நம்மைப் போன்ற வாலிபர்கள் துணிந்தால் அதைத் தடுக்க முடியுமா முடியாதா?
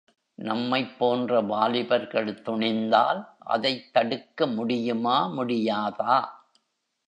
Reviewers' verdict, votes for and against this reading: accepted, 2, 0